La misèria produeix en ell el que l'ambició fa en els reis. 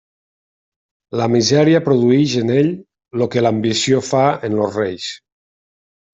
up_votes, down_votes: 0, 2